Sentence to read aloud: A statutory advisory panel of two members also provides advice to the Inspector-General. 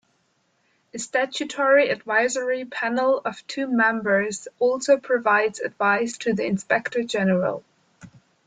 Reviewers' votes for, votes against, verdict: 2, 0, accepted